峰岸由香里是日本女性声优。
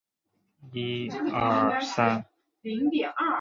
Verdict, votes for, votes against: rejected, 0, 2